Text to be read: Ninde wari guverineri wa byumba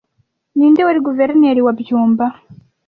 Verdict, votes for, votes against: accepted, 2, 0